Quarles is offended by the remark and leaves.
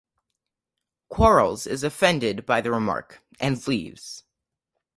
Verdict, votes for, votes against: accepted, 10, 0